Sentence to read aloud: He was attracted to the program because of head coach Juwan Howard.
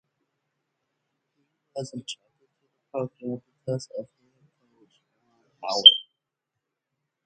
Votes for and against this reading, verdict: 0, 4, rejected